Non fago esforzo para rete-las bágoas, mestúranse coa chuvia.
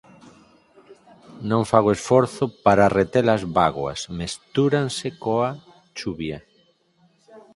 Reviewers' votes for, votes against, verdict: 4, 0, accepted